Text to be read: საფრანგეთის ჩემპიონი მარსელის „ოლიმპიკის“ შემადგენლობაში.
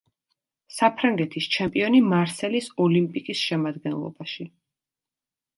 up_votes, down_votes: 2, 0